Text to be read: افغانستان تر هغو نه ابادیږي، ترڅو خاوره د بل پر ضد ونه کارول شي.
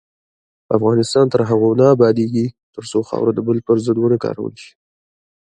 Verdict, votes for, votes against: rejected, 0, 2